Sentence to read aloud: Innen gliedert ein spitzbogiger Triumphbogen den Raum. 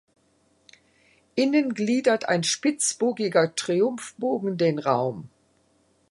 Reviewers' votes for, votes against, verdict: 2, 0, accepted